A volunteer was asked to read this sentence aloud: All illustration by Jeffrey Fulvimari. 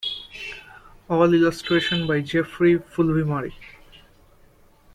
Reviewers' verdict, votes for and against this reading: accepted, 2, 0